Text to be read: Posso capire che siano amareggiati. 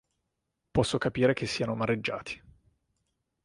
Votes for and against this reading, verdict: 2, 0, accepted